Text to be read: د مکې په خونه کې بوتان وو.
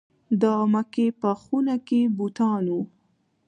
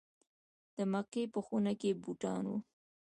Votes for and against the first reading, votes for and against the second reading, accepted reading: 2, 0, 0, 2, first